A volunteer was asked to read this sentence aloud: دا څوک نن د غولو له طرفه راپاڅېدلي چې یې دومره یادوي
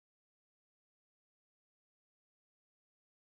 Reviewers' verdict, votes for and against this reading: accepted, 2, 0